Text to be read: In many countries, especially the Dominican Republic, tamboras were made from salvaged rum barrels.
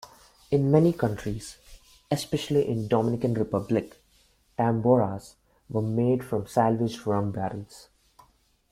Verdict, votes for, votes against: rejected, 0, 2